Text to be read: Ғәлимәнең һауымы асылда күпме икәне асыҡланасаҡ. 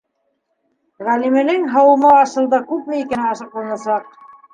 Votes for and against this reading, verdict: 1, 2, rejected